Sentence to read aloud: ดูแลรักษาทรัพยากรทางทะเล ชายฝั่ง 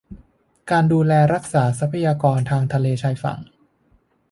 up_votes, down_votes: 0, 2